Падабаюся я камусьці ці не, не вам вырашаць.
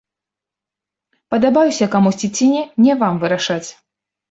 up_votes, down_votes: 2, 0